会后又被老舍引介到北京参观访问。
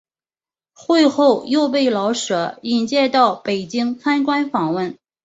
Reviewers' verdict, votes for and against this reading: accepted, 2, 0